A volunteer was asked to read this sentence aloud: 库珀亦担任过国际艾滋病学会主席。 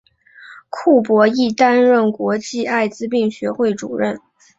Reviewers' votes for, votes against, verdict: 2, 0, accepted